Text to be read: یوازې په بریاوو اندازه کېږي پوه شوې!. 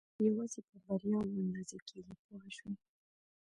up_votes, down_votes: 2, 0